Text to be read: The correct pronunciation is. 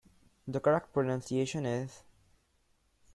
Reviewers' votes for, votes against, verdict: 2, 0, accepted